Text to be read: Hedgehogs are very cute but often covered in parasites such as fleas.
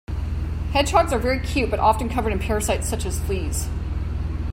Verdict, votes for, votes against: accepted, 2, 0